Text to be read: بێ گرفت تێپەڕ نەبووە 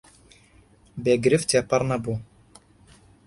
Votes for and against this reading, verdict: 2, 0, accepted